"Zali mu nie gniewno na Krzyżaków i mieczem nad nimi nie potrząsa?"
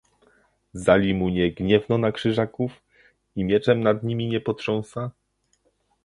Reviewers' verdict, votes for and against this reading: accepted, 2, 0